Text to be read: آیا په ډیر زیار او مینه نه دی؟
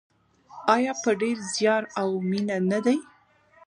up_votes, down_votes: 1, 2